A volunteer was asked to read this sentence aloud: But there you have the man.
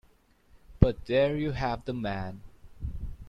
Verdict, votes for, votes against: accepted, 2, 0